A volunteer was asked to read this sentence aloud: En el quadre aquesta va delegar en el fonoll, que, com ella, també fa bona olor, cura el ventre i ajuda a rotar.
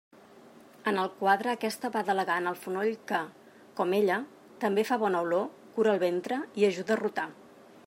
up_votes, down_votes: 2, 0